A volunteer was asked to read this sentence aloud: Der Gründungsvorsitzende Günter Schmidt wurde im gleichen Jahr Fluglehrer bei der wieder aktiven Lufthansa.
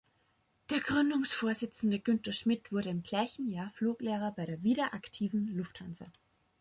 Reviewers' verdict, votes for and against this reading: accepted, 3, 0